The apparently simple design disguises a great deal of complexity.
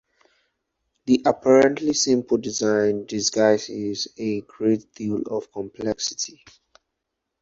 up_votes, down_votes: 2, 2